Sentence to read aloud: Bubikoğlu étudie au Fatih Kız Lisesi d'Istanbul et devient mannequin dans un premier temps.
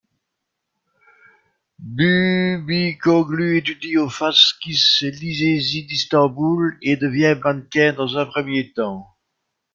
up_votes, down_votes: 0, 2